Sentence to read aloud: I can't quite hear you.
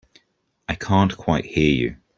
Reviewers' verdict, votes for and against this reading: accepted, 4, 0